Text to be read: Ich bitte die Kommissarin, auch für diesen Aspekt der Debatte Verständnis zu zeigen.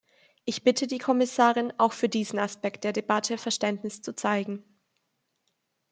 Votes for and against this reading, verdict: 2, 0, accepted